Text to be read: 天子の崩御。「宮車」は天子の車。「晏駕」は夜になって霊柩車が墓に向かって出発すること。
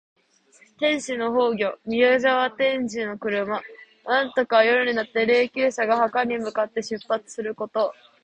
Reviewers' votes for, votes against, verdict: 2, 0, accepted